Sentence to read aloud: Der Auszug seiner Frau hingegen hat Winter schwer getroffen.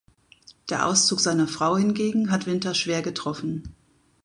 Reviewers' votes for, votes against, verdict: 2, 0, accepted